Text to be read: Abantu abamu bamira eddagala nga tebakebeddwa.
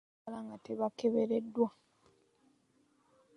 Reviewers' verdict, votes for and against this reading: rejected, 0, 2